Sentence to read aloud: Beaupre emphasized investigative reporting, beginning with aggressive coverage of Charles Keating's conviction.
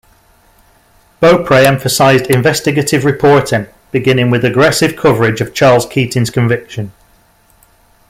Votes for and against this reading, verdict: 2, 0, accepted